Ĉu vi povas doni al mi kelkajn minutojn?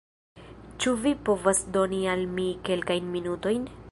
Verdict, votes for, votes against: accepted, 2, 0